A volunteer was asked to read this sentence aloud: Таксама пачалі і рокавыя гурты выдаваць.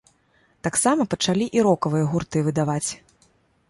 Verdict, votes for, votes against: accepted, 3, 0